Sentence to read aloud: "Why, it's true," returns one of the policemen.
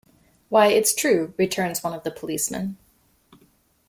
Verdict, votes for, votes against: accepted, 2, 0